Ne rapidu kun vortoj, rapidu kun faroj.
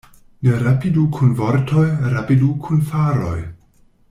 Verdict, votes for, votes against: accepted, 2, 0